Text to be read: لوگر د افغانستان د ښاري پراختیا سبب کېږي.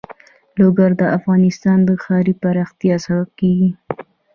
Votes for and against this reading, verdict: 1, 2, rejected